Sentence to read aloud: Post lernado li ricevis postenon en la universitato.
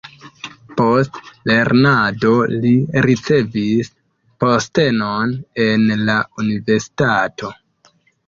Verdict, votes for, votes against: accepted, 2, 0